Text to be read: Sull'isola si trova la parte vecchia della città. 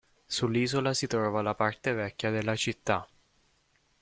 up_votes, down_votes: 2, 0